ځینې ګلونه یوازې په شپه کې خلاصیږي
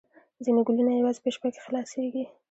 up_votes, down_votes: 2, 0